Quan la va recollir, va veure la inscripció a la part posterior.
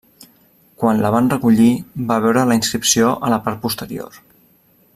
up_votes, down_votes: 0, 2